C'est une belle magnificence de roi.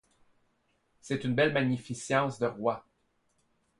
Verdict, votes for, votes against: accepted, 2, 0